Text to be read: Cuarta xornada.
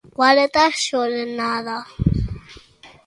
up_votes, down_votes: 1, 2